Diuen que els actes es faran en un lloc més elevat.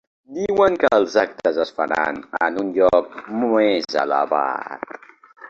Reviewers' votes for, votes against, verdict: 1, 3, rejected